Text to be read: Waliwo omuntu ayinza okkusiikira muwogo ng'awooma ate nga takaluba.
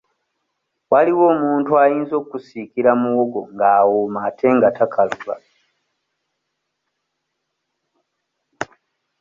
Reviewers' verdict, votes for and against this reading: accepted, 2, 0